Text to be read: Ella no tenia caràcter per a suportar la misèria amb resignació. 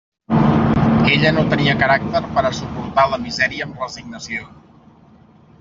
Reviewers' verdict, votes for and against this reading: accepted, 3, 0